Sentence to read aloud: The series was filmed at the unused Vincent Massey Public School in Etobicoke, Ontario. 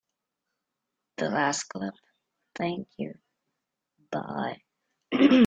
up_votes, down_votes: 0, 2